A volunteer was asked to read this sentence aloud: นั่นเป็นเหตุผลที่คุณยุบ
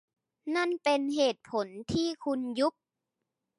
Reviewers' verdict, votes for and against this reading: accepted, 2, 0